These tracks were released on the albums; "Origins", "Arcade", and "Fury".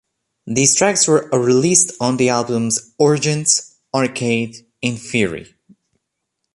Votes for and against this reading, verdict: 2, 1, accepted